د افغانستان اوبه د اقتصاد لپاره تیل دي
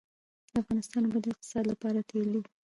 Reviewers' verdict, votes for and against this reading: accepted, 2, 0